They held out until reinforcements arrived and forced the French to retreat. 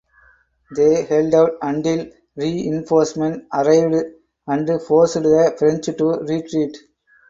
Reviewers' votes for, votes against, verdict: 4, 2, accepted